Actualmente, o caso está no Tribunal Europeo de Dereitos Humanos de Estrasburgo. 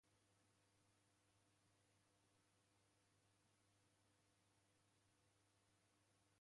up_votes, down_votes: 0, 2